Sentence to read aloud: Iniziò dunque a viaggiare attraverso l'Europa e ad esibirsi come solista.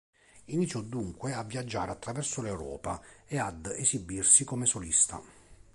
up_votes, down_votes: 3, 0